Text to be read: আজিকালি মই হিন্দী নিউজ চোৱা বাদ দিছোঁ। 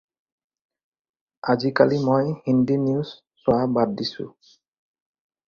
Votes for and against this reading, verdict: 4, 0, accepted